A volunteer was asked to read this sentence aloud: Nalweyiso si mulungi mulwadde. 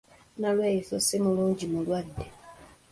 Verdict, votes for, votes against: accepted, 2, 0